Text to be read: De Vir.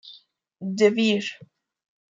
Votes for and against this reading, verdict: 2, 0, accepted